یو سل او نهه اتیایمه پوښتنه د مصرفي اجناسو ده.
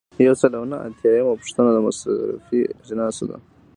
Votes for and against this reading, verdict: 2, 0, accepted